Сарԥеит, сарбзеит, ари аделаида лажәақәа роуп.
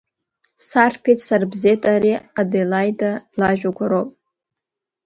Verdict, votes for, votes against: accepted, 2, 0